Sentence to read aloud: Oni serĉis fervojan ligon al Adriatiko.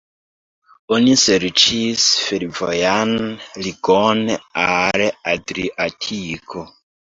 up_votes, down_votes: 1, 2